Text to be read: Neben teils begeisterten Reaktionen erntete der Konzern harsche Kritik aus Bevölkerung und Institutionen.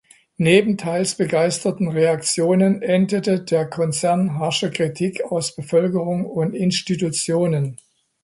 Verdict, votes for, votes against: rejected, 1, 2